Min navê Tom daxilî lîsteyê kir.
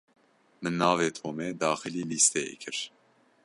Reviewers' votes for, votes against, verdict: 0, 2, rejected